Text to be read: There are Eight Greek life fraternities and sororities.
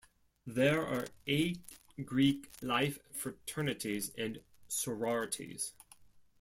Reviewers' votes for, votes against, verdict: 1, 2, rejected